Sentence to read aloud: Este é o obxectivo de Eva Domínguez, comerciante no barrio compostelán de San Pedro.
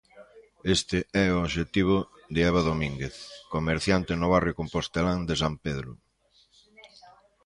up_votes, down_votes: 2, 0